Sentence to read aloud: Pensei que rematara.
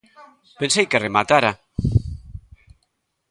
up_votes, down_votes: 1, 2